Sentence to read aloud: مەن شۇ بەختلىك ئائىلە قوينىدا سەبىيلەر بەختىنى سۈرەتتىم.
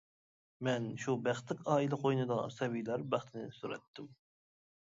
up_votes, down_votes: 2, 1